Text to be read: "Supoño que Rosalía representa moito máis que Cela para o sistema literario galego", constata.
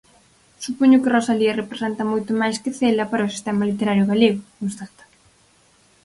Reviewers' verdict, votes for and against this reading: accepted, 4, 0